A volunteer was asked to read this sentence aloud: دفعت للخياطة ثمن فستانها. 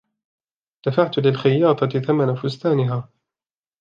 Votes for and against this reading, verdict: 3, 1, accepted